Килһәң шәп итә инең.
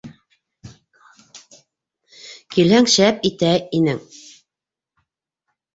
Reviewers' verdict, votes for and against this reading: rejected, 1, 2